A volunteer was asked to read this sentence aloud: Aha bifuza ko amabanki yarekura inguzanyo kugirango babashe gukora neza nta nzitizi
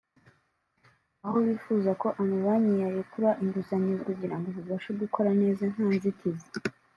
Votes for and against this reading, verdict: 0, 2, rejected